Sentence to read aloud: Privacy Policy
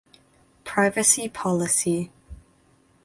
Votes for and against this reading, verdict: 2, 0, accepted